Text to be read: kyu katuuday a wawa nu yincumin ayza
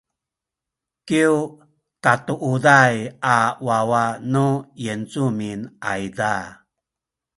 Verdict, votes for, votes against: accepted, 2, 0